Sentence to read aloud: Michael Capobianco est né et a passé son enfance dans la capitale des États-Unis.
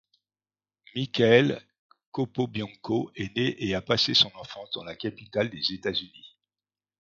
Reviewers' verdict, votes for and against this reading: rejected, 1, 2